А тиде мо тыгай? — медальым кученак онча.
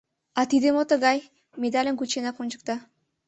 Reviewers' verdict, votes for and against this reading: rejected, 1, 2